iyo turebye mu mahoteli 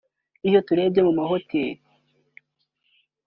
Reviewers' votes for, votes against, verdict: 3, 0, accepted